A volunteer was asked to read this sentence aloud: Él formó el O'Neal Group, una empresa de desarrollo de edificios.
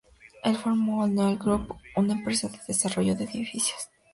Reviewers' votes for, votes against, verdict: 2, 0, accepted